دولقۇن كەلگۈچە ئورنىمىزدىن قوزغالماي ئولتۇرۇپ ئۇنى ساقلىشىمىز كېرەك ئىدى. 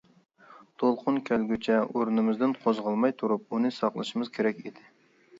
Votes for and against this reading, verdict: 0, 2, rejected